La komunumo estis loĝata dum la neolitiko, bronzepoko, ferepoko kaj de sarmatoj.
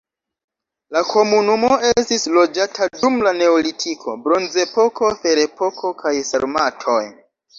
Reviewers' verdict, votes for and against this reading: rejected, 1, 2